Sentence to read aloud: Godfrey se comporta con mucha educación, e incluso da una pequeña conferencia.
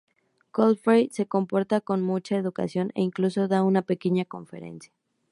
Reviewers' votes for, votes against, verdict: 2, 0, accepted